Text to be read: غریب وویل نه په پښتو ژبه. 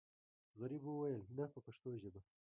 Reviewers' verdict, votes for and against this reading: accepted, 2, 1